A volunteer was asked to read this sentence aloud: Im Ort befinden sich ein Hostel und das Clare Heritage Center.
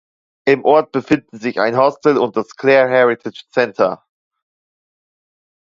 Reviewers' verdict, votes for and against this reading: accepted, 2, 0